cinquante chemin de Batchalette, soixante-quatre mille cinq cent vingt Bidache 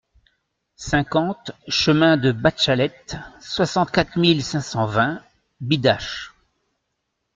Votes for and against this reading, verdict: 2, 0, accepted